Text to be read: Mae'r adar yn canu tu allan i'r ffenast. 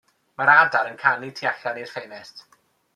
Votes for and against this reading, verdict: 2, 0, accepted